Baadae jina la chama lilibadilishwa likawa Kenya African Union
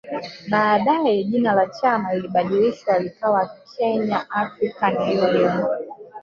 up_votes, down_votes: 0, 2